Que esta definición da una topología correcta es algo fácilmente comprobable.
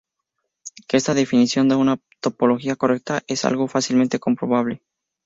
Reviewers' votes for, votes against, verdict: 0, 2, rejected